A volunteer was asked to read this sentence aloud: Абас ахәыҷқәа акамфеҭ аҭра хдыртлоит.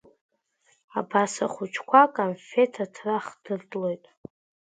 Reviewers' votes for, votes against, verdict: 1, 2, rejected